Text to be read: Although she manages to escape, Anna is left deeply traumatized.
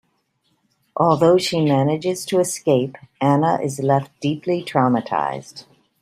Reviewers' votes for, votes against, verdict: 2, 0, accepted